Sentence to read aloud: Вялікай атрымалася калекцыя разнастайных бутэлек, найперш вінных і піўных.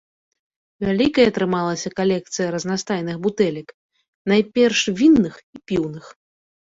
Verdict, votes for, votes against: rejected, 1, 2